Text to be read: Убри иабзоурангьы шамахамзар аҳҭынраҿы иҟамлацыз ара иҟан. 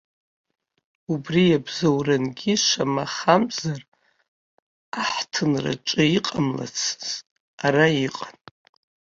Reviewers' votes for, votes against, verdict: 1, 2, rejected